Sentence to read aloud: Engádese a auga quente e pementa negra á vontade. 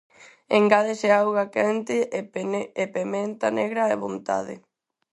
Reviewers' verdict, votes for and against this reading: rejected, 0, 4